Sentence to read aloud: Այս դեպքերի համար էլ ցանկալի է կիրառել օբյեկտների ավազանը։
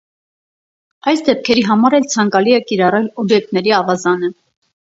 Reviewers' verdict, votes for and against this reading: accepted, 4, 0